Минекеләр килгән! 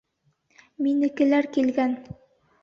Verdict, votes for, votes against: accepted, 2, 0